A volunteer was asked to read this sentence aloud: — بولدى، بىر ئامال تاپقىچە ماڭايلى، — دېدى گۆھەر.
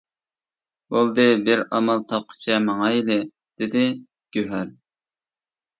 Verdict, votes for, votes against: accepted, 2, 0